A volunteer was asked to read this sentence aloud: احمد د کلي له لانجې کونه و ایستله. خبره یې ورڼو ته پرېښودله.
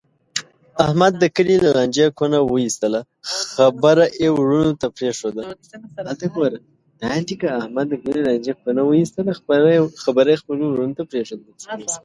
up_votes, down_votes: 0, 2